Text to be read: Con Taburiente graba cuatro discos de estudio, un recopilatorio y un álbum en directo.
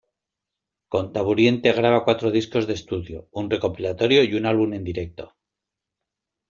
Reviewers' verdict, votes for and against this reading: accepted, 3, 0